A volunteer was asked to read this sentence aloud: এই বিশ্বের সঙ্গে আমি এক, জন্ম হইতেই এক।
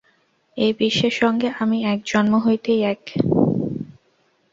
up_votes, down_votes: 0, 2